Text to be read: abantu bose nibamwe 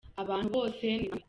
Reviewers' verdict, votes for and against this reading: rejected, 0, 2